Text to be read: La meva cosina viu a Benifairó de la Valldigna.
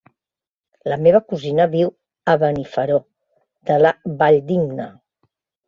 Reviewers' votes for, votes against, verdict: 1, 2, rejected